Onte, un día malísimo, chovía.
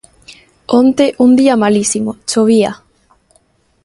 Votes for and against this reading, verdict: 2, 0, accepted